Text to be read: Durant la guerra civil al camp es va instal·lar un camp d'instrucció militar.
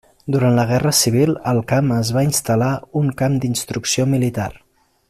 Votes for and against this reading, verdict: 2, 1, accepted